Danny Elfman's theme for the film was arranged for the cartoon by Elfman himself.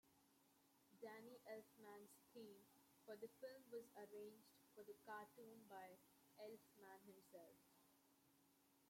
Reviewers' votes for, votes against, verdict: 1, 2, rejected